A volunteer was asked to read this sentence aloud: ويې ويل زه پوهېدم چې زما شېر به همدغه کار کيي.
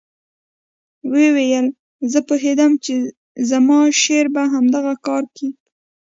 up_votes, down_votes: 1, 2